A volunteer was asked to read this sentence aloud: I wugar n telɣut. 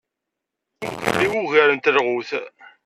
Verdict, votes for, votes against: rejected, 0, 2